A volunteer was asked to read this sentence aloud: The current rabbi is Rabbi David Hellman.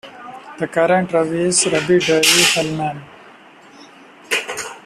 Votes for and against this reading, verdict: 0, 2, rejected